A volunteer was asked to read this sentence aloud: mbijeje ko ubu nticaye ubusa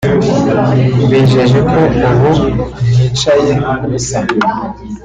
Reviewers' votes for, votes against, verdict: 1, 2, rejected